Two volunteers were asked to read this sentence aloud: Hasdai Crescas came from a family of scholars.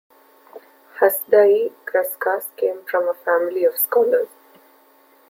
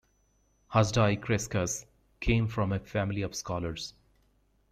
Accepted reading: second